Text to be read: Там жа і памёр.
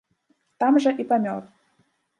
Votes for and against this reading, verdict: 2, 0, accepted